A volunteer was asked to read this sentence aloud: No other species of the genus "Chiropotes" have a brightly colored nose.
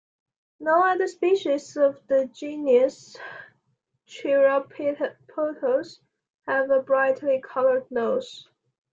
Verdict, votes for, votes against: rejected, 1, 2